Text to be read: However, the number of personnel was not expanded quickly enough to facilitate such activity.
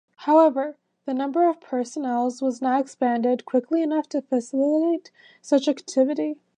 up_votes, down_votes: 1, 2